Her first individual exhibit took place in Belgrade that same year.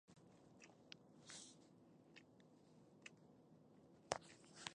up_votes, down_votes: 0, 2